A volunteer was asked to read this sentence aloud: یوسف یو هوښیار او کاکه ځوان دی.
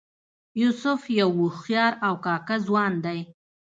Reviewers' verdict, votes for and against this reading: accepted, 2, 0